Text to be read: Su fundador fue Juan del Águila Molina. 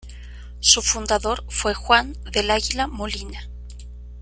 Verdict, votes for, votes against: accepted, 3, 0